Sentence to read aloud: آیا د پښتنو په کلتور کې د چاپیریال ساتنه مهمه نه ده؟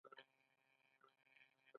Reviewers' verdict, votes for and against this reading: accepted, 2, 1